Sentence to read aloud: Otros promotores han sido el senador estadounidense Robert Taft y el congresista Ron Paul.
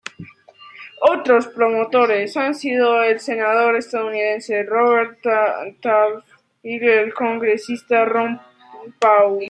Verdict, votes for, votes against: rejected, 0, 2